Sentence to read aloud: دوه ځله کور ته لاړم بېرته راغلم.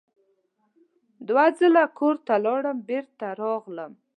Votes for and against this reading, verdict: 2, 0, accepted